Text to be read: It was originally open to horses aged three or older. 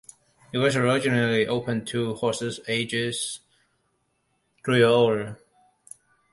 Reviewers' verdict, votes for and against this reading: rejected, 0, 2